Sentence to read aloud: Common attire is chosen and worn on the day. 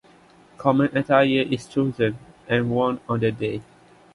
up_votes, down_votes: 2, 0